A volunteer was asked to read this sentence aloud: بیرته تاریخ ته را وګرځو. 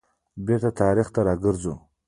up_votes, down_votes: 2, 1